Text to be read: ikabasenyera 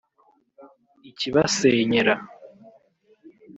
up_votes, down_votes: 0, 3